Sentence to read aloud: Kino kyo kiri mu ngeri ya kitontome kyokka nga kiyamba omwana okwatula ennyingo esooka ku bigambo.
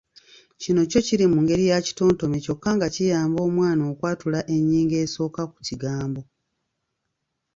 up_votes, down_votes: 0, 2